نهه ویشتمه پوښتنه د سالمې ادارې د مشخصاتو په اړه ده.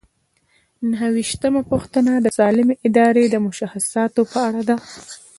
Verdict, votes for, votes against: accepted, 2, 0